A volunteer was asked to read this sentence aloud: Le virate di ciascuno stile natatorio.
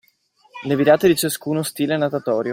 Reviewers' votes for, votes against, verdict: 2, 0, accepted